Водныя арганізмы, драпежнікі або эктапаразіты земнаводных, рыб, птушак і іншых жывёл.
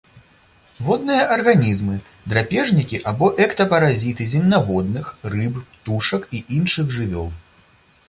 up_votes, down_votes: 2, 0